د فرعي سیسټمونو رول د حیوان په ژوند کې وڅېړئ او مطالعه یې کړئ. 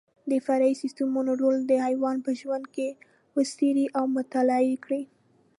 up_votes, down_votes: 2, 0